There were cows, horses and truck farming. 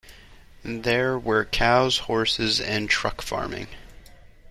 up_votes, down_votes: 2, 0